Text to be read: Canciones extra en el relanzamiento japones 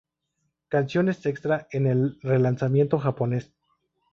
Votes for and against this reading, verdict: 2, 2, rejected